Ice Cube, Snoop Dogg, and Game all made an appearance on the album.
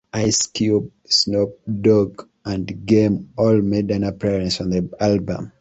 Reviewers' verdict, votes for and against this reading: rejected, 1, 2